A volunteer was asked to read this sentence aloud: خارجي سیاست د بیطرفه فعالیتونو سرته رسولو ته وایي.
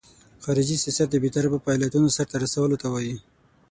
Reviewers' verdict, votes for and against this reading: rejected, 3, 6